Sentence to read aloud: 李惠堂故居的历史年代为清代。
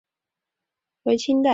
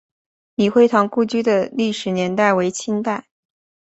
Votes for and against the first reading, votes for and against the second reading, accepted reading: 2, 4, 4, 0, second